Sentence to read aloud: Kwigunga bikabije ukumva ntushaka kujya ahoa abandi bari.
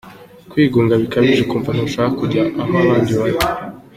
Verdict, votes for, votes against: accepted, 2, 0